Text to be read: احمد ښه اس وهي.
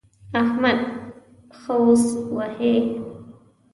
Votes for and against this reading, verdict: 1, 2, rejected